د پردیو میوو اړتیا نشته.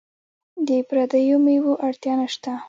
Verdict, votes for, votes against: accepted, 2, 0